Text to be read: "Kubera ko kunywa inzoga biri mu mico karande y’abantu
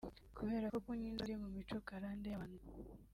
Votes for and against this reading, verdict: 2, 3, rejected